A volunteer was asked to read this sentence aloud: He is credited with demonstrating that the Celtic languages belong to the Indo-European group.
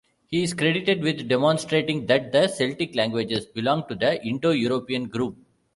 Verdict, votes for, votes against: rejected, 1, 2